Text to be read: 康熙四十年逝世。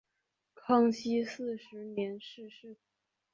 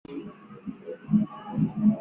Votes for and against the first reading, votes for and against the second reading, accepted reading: 2, 0, 0, 2, first